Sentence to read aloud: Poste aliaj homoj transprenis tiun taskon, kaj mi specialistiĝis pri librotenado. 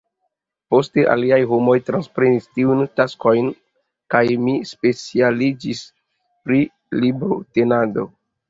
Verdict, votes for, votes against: accepted, 2, 1